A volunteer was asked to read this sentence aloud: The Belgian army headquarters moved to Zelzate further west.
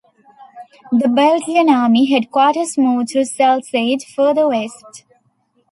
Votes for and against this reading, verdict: 2, 0, accepted